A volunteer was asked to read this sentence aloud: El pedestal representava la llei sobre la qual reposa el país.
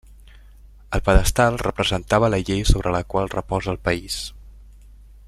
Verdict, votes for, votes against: accepted, 3, 0